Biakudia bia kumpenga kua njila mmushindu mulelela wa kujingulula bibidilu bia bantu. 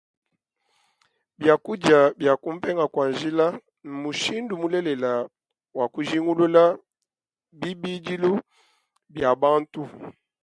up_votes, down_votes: 1, 2